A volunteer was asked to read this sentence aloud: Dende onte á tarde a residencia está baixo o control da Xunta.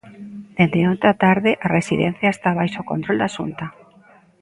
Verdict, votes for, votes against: accepted, 2, 0